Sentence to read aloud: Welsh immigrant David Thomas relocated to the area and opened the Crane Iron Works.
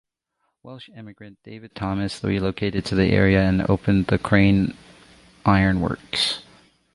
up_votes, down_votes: 2, 0